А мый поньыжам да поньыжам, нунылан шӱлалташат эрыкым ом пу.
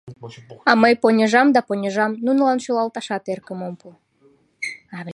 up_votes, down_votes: 0, 2